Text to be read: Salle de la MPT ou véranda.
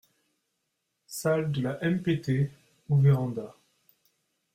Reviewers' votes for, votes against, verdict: 2, 0, accepted